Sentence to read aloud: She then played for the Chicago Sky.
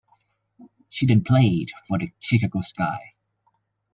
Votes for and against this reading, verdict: 0, 2, rejected